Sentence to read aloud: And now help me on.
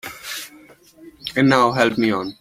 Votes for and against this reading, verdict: 2, 1, accepted